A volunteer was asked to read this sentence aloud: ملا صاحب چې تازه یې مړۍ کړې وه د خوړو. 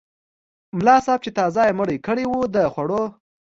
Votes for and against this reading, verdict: 2, 0, accepted